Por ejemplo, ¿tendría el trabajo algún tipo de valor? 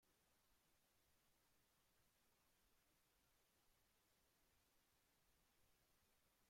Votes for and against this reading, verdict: 0, 2, rejected